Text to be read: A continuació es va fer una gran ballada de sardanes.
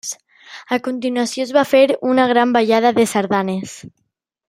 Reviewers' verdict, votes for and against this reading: accepted, 4, 0